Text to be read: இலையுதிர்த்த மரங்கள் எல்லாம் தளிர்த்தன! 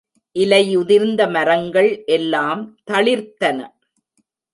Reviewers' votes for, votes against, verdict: 1, 2, rejected